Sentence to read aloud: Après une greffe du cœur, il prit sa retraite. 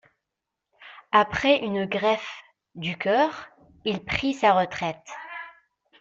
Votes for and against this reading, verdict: 2, 0, accepted